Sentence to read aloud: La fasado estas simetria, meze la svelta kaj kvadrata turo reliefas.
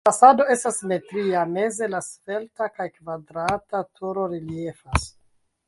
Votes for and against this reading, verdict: 2, 1, accepted